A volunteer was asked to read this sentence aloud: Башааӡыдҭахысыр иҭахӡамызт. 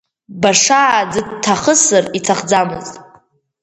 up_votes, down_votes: 4, 0